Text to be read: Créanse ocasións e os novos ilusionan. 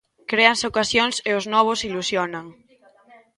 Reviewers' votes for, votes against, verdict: 2, 0, accepted